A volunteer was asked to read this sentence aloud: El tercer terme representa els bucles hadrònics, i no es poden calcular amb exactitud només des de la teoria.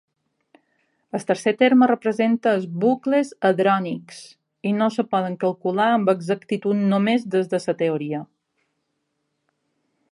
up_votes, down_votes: 3, 1